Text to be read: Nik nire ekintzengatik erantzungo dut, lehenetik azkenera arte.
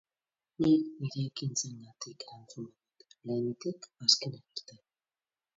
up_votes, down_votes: 2, 4